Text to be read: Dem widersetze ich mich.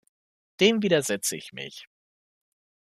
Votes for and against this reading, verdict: 2, 0, accepted